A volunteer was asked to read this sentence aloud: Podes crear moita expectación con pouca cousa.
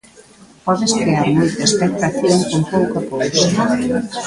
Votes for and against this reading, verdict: 1, 2, rejected